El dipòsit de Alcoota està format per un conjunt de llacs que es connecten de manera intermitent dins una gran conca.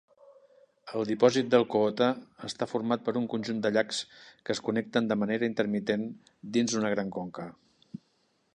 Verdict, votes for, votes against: accepted, 2, 0